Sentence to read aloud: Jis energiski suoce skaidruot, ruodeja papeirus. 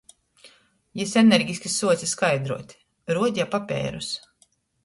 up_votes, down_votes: 2, 0